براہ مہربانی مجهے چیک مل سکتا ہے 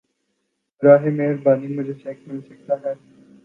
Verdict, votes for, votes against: accepted, 3, 0